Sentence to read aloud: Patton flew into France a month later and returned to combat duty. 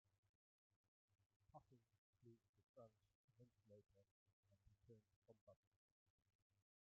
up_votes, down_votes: 0, 2